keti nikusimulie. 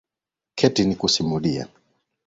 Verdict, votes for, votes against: accepted, 2, 0